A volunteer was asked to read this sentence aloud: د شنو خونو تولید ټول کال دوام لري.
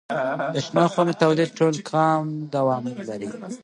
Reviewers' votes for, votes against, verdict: 0, 2, rejected